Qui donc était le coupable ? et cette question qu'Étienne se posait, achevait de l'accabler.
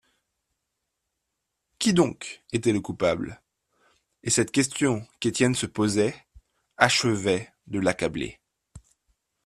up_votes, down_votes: 3, 0